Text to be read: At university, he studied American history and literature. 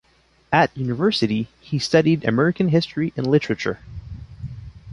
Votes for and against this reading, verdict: 2, 0, accepted